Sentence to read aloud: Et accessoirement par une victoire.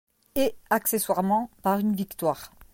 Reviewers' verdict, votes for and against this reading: accepted, 2, 0